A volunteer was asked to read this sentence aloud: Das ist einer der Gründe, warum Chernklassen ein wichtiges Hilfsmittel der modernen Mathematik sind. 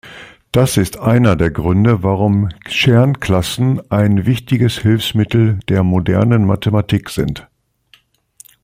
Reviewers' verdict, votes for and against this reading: accepted, 2, 0